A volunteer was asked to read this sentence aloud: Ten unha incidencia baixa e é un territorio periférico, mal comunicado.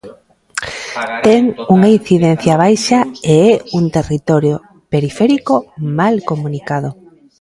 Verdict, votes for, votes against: rejected, 1, 2